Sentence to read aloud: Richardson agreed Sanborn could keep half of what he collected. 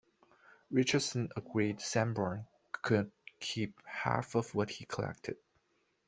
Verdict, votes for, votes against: rejected, 0, 2